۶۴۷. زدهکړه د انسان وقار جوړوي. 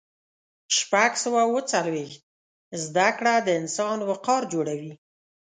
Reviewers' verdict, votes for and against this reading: rejected, 0, 2